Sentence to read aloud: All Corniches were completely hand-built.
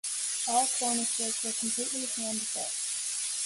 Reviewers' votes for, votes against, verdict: 1, 2, rejected